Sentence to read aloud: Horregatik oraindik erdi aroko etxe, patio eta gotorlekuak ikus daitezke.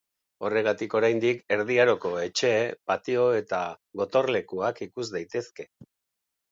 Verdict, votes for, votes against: accepted, 2, 0